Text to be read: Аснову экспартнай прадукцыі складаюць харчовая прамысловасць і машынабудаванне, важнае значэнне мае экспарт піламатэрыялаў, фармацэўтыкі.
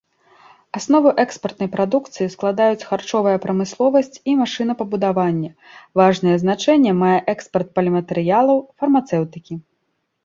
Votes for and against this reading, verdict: 1, 2, rejected